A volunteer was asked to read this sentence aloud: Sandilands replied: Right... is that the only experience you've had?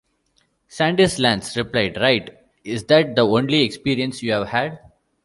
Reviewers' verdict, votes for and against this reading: accepted, 2, 1